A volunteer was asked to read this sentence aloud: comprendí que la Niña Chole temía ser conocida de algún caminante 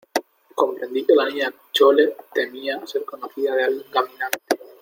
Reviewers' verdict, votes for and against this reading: accepted, 2, 1